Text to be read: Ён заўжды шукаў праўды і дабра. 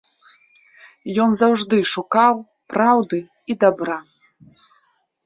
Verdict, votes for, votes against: accepted, 2, 0